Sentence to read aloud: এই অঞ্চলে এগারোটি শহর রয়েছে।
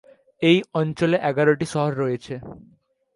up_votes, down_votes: 0, 2